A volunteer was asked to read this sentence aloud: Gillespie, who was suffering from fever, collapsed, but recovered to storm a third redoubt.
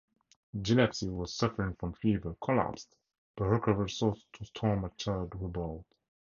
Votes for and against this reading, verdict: 0, 2, rejected